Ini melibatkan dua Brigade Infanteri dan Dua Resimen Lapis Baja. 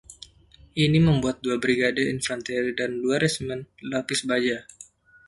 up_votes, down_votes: 0, 2